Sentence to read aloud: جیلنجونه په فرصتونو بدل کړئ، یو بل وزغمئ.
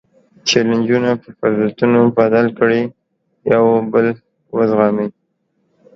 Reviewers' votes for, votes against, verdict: 1, 2, rejected